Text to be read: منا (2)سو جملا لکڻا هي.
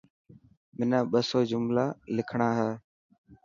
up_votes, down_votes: 0, 2